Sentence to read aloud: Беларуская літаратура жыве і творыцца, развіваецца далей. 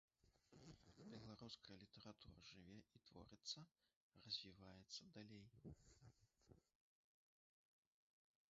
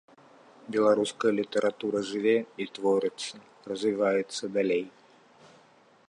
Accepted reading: second